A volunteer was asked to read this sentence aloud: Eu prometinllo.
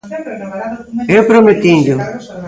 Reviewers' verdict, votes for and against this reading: rejected, 1, 2